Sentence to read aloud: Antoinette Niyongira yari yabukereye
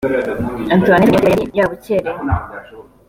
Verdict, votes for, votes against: accepted, 2, 0